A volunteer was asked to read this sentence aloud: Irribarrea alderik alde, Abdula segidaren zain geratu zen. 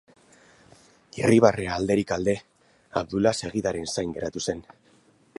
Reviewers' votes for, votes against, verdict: 4, 0, accepted